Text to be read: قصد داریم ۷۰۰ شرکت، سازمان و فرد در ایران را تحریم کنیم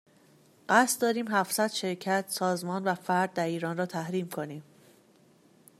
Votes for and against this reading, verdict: 0, 2, rejected